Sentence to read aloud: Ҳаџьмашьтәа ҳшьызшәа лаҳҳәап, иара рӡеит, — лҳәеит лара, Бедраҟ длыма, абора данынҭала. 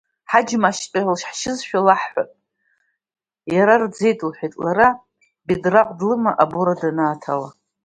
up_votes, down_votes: 1, 2